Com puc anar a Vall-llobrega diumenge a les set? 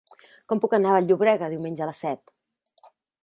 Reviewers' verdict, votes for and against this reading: rejected, 1, 2